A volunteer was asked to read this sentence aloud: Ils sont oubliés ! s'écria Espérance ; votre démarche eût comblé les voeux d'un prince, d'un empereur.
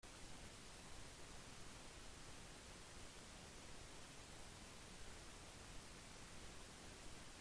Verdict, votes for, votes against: rejected, 0, 2